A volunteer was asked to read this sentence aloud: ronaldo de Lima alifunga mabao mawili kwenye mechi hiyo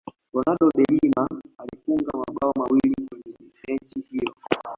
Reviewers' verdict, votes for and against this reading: accepted, 2, 0